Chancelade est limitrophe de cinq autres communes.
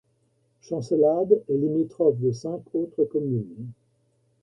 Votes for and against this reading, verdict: 3, 2, accepted